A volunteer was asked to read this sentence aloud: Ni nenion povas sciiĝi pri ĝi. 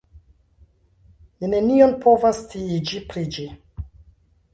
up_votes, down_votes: 1, 2